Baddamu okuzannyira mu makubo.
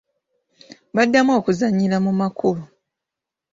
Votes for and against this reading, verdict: 2, 0, accepted